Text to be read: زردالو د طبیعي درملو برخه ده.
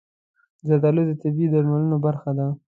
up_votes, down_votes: 2, 1